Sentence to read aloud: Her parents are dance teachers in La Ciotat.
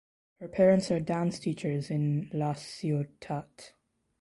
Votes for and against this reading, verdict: 2, 1, accepted